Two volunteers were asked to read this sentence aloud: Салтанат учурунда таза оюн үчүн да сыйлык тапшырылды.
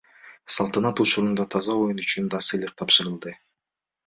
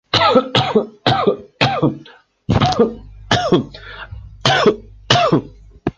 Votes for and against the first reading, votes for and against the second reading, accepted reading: 3, 0, 1, 2, first